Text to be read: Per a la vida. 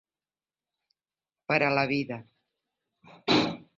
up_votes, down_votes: 1, 2